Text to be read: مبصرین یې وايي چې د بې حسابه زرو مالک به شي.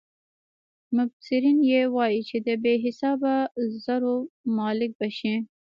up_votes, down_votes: 3, 2